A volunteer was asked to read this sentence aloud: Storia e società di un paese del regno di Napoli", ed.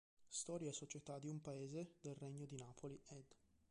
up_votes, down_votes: 1, 2